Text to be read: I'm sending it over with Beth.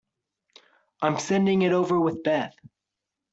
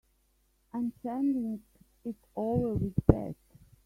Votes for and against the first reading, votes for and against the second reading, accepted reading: 2, 0, 0, 2, first